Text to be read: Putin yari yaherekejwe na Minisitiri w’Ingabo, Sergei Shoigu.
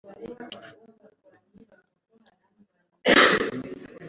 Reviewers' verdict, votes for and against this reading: rejected, 0, 2